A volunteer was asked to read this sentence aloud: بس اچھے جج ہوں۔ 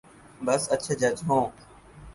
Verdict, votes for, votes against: accepted, 8, 0